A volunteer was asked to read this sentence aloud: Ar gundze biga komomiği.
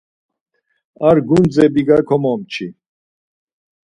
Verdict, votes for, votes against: rejected, 0, 4